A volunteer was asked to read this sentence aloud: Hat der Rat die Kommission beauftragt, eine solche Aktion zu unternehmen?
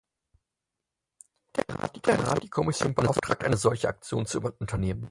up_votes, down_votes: 0, 4